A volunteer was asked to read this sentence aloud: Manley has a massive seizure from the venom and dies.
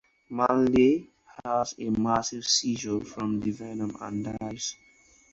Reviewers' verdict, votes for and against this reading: accepted, 4, 2